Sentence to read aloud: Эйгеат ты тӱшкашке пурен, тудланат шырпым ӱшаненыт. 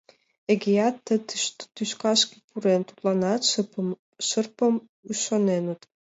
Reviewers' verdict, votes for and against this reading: rejected, 0, 2